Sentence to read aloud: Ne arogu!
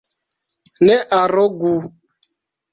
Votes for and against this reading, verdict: 2, 0, accepted